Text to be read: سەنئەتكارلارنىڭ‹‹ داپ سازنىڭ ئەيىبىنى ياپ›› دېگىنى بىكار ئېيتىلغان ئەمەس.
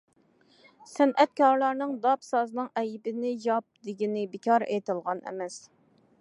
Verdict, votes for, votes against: accepted, 2, 0